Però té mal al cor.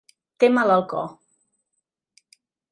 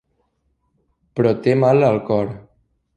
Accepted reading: second